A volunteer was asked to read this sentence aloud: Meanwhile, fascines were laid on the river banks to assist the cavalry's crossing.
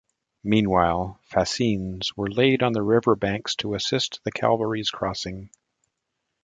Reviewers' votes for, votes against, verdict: 2, 0, accepted